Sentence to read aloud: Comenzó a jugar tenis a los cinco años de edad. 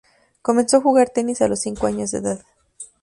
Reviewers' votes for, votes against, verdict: 2, 0, accepted